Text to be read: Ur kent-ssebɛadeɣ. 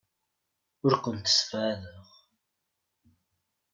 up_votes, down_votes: 2, 0